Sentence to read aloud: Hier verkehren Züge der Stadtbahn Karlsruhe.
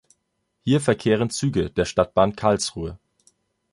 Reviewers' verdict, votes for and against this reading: accepted, 2, 0